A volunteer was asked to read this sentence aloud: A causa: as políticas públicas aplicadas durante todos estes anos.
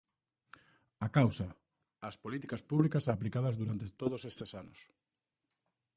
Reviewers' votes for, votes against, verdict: 2, 0, accepted